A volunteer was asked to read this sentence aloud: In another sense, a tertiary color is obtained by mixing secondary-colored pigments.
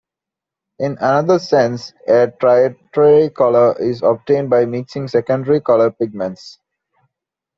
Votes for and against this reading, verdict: 1, 2, rejected